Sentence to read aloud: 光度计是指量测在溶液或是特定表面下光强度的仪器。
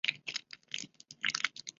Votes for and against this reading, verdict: 0, 4, rejected